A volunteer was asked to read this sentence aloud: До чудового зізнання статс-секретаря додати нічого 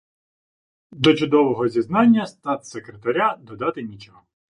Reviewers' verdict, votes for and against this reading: accepted, 2, 0